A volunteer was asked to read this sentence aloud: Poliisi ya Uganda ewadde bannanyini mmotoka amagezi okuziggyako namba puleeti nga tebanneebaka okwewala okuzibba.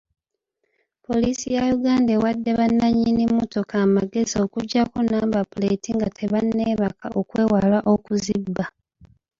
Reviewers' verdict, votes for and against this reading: accepted, 2, 0